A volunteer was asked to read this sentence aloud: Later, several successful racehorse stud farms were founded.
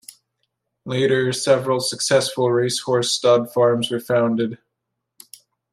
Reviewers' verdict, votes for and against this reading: accepted, 2, 0